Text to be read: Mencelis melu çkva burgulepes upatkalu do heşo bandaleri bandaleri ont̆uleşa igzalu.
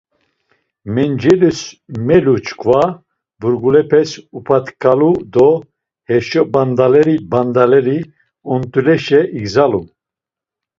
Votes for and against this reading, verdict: 2, 0, accepted